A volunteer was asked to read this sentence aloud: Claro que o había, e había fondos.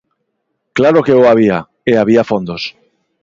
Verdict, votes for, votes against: accepted, 2, 1